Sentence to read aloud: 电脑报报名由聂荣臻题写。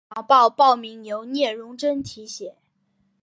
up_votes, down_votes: 1, 2